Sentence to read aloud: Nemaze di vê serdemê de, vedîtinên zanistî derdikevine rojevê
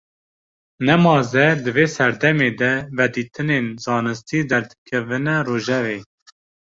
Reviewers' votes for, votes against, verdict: 2, 0, accepted